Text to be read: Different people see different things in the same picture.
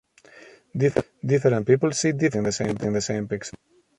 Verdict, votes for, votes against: rejected, 0, 2